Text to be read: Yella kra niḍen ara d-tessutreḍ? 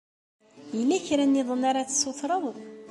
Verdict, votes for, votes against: accepted, 2, 0